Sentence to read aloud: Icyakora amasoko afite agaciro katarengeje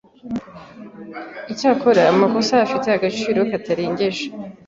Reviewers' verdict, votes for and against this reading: rejected, 0, 2